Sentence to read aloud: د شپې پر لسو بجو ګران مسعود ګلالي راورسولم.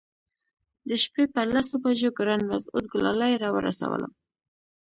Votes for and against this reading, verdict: 2, 0, accepted